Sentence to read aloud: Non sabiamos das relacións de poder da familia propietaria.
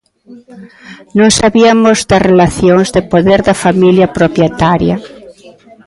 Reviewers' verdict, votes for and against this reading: rejected, 1, 2